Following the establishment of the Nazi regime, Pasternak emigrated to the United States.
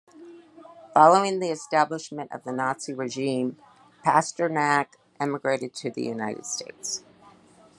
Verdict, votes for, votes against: accepted, 2, 0